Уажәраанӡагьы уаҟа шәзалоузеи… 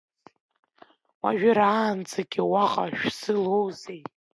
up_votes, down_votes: 0, 2